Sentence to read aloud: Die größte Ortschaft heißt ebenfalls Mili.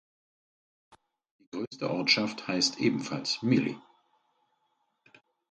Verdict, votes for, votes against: rejected, 2, 4